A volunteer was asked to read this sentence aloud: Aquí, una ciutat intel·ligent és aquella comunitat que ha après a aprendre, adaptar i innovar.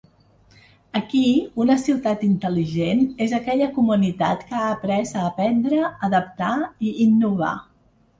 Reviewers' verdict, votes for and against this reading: accepted, 2, 0